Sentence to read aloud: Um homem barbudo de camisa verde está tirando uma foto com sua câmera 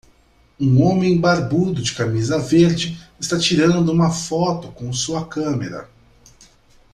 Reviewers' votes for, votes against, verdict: 2, 0, accepted